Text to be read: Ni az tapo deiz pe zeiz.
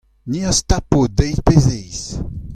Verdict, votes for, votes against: accepted, 2, 0